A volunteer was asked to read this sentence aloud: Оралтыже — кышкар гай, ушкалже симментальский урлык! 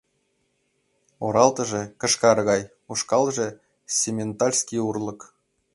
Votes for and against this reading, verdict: 4, 0, accepted